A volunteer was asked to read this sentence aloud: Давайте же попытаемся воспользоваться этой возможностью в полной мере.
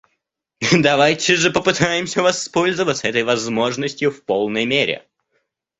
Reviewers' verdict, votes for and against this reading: rejected, 0, 2